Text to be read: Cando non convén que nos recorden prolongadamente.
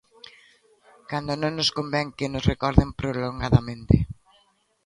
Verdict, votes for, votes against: rejected, 0, 2